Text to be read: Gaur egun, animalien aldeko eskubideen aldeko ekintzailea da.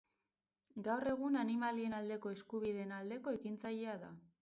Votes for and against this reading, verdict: 2, 2, rejected